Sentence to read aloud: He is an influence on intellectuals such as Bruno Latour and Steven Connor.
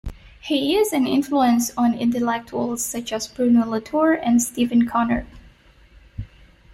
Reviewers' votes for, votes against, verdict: 2, 1, accepted